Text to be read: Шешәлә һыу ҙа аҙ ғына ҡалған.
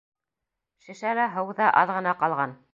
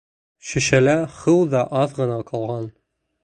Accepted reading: second